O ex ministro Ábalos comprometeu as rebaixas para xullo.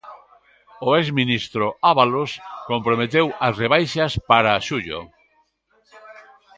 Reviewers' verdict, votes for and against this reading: rejected, 1, 2